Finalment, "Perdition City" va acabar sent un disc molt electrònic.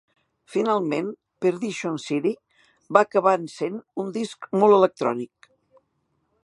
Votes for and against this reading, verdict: 1, 2, rejected